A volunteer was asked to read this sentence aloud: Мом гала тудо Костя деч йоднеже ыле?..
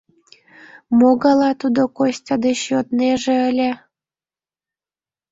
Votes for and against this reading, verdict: 1, 2, rejected